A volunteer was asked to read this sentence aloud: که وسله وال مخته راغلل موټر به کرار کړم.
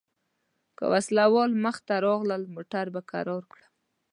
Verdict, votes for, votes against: accepted, 2, 0